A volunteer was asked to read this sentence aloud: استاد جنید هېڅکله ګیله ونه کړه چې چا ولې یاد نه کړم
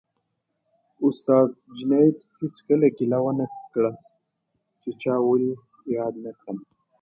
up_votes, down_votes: 2, 1